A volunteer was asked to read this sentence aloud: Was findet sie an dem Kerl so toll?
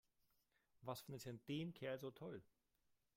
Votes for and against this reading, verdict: 2, 3, rejected